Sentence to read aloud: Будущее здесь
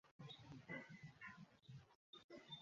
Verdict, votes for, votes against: rejected, 0, 2